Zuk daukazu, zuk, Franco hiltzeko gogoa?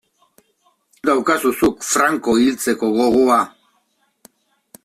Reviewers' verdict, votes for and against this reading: rejected, 0, 2